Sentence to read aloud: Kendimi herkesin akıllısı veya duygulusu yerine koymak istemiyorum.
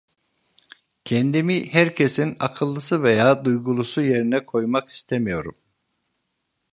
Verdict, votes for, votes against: accepted, 2, 0